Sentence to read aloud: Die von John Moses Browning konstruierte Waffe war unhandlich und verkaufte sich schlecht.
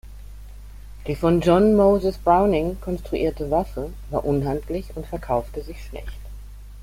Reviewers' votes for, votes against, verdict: 2, 0, accepted